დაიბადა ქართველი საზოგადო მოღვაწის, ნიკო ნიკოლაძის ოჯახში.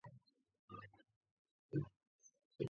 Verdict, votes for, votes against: rejected, 0, 2